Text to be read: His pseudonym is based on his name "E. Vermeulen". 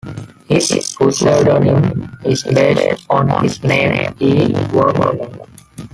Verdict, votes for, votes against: rejected, 0, 2